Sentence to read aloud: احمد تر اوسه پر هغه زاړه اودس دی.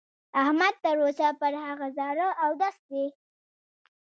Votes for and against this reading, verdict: 1, 2, rejected